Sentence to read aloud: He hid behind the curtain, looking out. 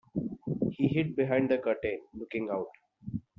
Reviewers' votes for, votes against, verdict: 2, 0, accepted